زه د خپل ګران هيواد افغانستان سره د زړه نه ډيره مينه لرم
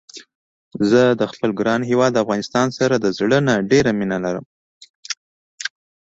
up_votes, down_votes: 2, 0